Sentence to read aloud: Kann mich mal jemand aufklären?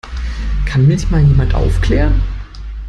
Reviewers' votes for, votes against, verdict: 2, 0, accepted